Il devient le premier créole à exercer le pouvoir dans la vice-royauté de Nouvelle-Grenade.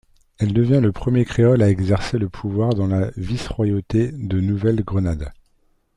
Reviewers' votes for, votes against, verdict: 3, 0, accepted